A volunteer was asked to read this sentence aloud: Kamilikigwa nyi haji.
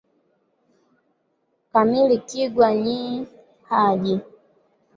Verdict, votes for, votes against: accepted, 3, 1